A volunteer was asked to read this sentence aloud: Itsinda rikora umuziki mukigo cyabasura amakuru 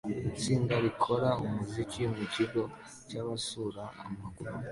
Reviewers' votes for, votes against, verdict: 2, 0, accepted